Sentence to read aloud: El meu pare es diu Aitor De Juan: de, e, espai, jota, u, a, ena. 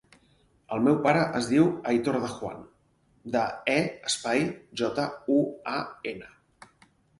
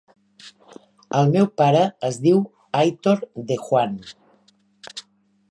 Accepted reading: first